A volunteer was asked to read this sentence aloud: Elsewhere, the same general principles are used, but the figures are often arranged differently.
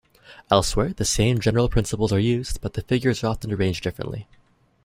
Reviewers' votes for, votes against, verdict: 2, 0, accepted